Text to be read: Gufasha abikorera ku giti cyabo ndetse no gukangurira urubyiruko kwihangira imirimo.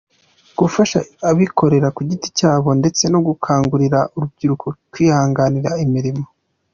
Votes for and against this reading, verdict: 2, 0, accepted